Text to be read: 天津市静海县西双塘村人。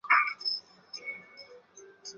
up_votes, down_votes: 1, 4